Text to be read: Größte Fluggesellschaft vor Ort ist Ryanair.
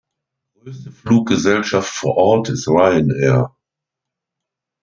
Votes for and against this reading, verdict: 0, 2, rejected